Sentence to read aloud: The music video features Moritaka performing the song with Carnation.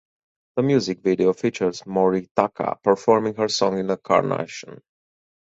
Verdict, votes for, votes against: rejected, 0, 4